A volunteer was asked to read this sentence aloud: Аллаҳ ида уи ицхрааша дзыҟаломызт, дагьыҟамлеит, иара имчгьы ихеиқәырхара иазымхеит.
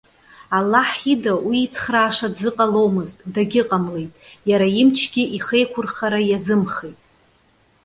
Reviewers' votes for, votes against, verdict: 2, 0, accepted